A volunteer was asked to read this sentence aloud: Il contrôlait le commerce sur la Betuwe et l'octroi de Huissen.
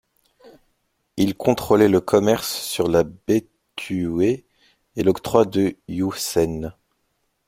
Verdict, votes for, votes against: rejected, 2, 3